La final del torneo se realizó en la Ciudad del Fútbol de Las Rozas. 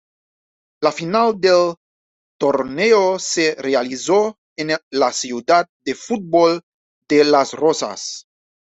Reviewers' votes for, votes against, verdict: 2, 0, accepted